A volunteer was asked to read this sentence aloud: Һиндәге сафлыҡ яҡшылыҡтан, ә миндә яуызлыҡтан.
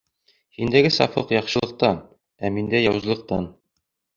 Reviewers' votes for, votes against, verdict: 2, 0, accepted